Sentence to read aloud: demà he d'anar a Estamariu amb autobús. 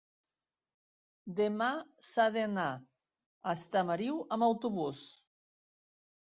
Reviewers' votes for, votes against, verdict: 0, 2, rejected